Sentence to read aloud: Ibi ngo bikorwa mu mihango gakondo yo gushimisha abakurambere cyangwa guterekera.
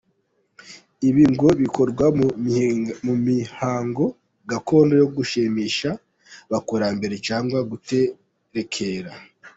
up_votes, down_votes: 1, 2